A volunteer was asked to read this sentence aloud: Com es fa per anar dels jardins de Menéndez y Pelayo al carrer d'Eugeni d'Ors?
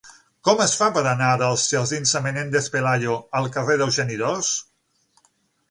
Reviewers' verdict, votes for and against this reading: rejected, 0, 6